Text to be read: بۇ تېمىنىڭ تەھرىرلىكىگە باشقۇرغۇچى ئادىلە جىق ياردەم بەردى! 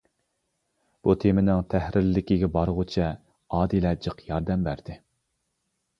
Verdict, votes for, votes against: rejected, 0, 2